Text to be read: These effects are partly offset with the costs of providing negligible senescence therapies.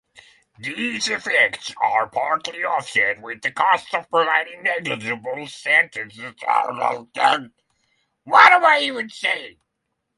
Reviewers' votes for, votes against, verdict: 0, 3, rejected